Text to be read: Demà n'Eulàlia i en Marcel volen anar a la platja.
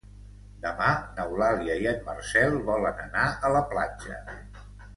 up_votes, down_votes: 2, 0